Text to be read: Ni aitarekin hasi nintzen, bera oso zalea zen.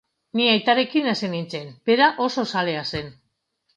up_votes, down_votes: 2, 2